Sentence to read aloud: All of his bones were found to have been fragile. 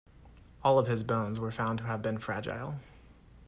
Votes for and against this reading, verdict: 2, 0, accepted